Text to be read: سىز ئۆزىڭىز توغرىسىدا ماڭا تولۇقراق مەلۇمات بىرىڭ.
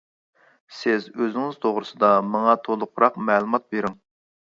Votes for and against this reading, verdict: 2, 0, accepted